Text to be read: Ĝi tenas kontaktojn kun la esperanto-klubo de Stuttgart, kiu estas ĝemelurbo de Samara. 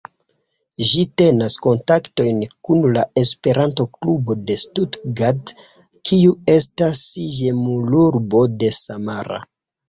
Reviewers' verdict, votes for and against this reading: rejected, 1, 2